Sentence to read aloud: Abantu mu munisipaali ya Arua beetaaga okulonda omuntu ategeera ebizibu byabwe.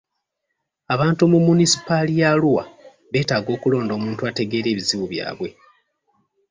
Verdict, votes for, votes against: accepted, 2, 0